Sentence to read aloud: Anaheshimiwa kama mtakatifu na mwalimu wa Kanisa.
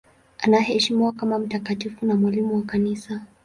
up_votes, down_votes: 6, 0